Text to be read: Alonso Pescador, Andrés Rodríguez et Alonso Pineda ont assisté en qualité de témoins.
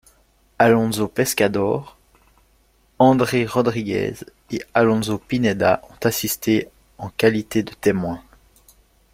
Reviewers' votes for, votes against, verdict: 0, 2, rejected